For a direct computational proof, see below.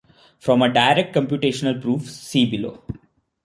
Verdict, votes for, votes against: rejected, 0, 2